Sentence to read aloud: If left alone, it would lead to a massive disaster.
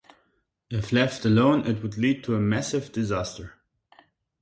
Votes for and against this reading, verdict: 2, 0, accepted